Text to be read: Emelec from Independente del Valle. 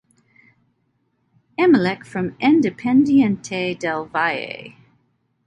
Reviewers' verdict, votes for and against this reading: rejected, 0, 2